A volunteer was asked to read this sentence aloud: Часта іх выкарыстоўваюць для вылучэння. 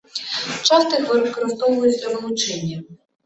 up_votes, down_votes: 1, 2